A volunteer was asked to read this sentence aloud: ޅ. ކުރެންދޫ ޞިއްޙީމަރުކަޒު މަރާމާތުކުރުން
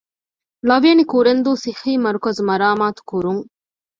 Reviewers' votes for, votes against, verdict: 2, 0, accepted